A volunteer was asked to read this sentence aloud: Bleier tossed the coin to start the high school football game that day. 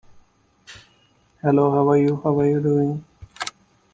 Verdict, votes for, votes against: rejected, 0, 3